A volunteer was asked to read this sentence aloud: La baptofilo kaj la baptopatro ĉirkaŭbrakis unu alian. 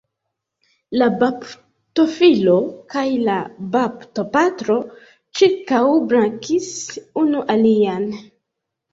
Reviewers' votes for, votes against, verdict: 1, 2, rejected